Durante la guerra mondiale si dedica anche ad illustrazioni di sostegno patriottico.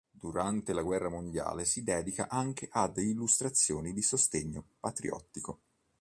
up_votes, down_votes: 2, 0